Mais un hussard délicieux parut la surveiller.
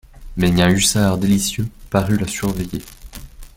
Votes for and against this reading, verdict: 0, 2, rejected